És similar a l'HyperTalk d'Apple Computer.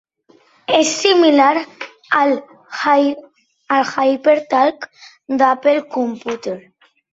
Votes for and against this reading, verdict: 0, 2, rejected